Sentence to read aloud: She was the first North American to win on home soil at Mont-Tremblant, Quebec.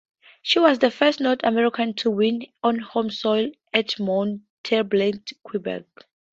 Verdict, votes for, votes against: accepted, 2, 0